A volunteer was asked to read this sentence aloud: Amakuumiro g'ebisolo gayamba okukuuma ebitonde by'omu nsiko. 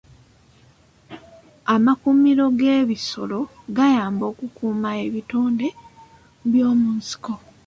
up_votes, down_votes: 2, 0